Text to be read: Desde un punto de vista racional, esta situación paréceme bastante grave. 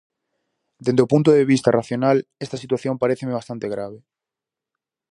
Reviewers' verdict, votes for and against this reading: rejected, 2, 2